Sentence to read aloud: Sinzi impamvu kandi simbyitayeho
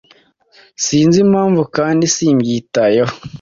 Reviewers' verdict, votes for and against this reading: accepted, 2, 0